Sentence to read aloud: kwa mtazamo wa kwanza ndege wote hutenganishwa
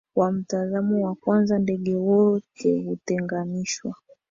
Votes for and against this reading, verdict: 1, 2, rejected